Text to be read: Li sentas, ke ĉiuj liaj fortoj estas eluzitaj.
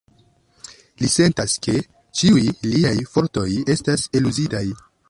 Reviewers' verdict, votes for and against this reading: rejected, 1, 2